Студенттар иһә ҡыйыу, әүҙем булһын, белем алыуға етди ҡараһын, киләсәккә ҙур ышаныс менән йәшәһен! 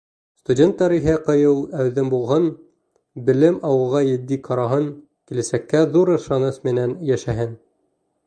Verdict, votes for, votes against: rejected, 0, 2